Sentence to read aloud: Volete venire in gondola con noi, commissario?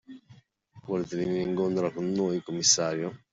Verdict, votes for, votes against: accepted, 2, 1